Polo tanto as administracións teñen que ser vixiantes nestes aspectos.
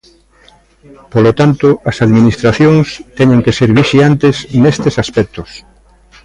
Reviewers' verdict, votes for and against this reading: rejected, 0, 2